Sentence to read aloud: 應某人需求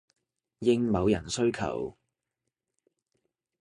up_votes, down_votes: 2, 0